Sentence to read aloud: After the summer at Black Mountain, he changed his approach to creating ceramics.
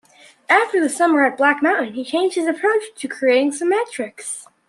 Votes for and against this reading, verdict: 2, 1, accepted